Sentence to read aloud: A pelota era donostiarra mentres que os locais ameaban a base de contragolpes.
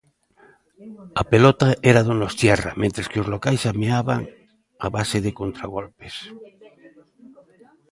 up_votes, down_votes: 2, 0